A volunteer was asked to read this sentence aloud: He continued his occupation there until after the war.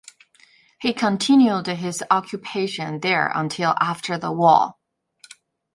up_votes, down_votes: 2, 0